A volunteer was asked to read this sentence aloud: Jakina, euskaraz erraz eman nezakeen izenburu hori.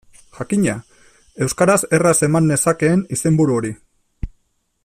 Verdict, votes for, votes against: accepted, 2, 1